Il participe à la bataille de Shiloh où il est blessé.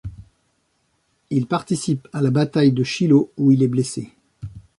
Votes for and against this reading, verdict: 1, 2, rejected